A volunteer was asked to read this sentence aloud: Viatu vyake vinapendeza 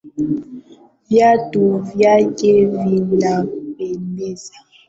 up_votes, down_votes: 1, 2